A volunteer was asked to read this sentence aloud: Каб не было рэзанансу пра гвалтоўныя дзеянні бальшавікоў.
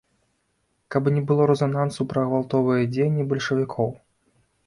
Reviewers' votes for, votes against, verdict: 0, 2, rejected